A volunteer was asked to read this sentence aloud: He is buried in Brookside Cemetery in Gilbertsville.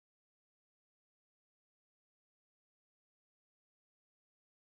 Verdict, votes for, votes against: rejected, 1, 2